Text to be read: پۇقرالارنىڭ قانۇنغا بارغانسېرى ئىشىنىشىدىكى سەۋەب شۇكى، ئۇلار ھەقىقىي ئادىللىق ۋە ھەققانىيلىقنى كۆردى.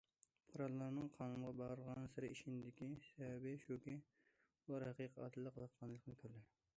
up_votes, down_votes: 1, 2